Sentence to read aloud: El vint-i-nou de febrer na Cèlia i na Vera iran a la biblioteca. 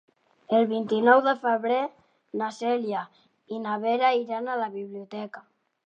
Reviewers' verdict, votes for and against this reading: accepted, 3, 0